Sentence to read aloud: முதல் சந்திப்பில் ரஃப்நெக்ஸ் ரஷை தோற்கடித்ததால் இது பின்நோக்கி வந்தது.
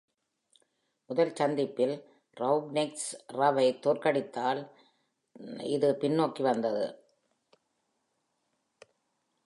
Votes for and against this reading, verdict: 0, 2, rejected